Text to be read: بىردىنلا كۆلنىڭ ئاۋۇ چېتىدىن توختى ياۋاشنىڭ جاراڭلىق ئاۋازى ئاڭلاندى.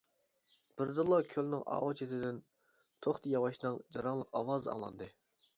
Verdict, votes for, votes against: rejected, 1, 2